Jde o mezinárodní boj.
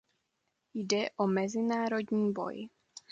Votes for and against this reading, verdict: 2, 0, accepted